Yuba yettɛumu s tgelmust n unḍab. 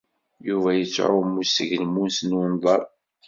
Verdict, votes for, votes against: rejected, 1, 2